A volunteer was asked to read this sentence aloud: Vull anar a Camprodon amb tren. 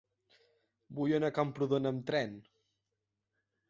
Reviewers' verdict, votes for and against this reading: accepted, 2, 0